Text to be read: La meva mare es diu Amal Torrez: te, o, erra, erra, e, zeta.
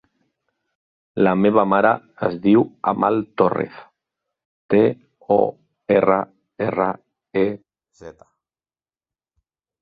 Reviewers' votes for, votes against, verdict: 2, 0, accepted